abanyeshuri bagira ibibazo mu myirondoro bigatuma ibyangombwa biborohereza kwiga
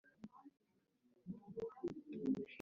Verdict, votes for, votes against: rejected, 1, 2